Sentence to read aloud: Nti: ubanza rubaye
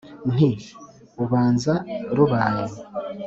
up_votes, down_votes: 4, 0